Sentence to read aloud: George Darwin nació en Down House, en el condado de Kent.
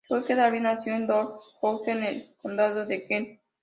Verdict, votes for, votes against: rejected, 0, 2